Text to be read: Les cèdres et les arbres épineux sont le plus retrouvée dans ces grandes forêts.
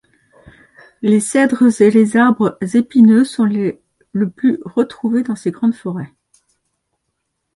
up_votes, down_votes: 1, 2